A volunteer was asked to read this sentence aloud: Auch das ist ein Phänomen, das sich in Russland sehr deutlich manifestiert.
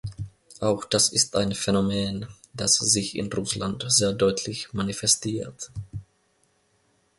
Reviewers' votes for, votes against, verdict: 2, 0, accepted